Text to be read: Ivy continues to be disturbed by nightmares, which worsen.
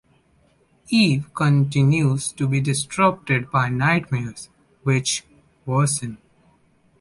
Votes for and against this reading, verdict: 0, 2, rejected